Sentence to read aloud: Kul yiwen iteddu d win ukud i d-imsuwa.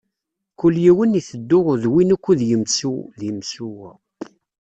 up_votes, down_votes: 1, 2